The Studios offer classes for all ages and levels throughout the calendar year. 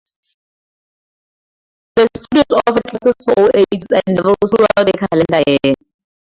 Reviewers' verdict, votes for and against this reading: accepted, 2, 0